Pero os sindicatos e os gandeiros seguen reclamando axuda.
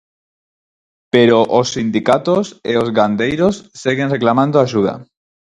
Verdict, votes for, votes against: accepted, 4, 0